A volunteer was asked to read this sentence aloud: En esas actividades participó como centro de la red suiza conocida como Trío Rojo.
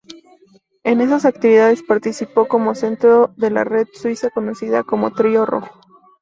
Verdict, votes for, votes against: accepted, 2, 0